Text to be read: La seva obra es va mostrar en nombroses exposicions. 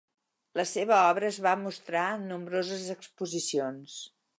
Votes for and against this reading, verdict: 2, 0, accepted